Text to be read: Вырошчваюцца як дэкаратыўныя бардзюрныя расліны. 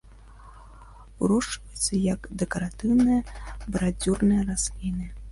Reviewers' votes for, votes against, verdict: 2, 0, accepted